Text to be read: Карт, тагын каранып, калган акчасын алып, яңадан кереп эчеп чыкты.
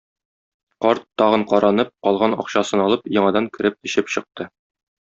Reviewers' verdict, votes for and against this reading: accepted, 2, 0